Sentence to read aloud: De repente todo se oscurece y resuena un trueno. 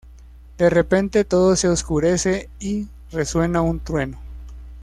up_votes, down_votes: 2, 0